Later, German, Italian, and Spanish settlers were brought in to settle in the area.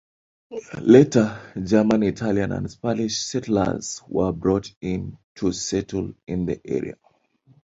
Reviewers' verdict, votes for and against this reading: accepted, 2, 1